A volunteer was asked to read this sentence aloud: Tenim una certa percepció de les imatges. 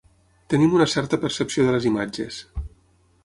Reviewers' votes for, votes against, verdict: 6, 0, accepted